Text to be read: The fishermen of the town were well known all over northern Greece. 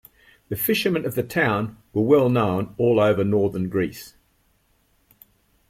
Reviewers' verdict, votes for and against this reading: accepted, 2, 0